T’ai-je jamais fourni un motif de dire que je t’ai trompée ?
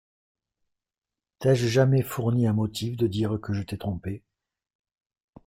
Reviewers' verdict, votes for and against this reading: accepted, 2, 0